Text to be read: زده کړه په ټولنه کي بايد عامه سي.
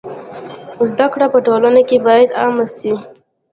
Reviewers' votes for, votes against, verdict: 0, 2, rejected